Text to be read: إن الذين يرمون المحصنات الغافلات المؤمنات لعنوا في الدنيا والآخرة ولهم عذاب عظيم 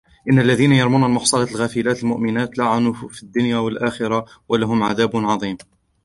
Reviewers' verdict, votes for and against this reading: rejected, 1, 2